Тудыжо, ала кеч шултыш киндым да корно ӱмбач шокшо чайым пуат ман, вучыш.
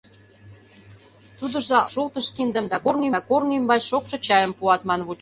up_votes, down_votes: 0, 2